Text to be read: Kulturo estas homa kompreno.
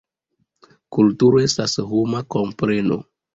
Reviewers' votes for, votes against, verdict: 2, 1, accepted